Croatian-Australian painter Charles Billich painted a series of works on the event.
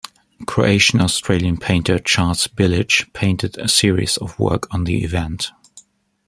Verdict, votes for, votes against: rejected, 1, 2